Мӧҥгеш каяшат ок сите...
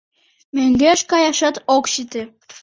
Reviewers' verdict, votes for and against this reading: accepted, 2, 0